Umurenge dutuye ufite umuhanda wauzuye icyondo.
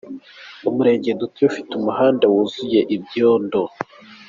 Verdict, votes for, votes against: rejected, 1, 2